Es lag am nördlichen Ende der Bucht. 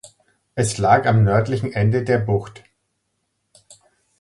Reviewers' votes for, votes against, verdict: 2, 0, accepted